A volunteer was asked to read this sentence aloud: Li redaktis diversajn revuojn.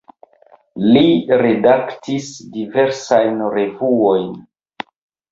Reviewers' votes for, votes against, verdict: 1, 2, rejected